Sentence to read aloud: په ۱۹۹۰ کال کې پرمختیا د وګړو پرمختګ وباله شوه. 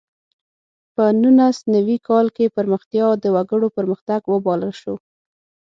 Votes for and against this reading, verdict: 0, 2, rejected